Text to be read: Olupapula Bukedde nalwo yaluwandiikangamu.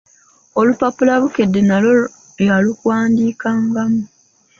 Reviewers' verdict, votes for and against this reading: accepted, 2, 1